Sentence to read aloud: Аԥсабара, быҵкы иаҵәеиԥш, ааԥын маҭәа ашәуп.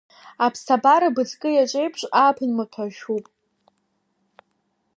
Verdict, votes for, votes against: accepted, 2, 0